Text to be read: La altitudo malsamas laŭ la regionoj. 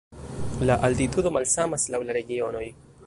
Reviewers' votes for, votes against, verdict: 2, 0, accepted